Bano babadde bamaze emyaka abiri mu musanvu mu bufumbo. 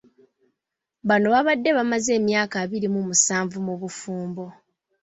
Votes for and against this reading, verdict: 2, 0, accepted